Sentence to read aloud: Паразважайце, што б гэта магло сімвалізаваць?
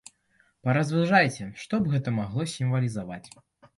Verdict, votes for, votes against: rejected, 1, 2